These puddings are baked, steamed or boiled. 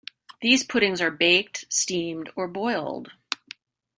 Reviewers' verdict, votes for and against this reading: accepted, 2, 0